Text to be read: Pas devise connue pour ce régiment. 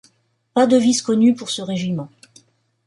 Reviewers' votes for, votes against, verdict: 2, 0, accepted